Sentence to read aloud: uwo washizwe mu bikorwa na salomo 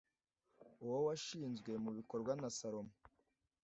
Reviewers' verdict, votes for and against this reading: rejected, 1, 2